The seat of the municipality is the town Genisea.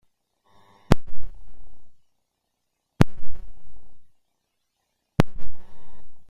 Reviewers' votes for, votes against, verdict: 0, 2, rejected